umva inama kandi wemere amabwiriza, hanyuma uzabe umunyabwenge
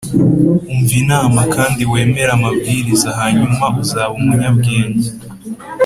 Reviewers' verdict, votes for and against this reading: accepted, 2, 0